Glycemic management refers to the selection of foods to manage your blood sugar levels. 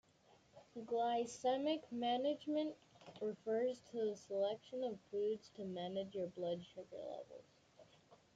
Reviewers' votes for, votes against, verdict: 2, 1, accepted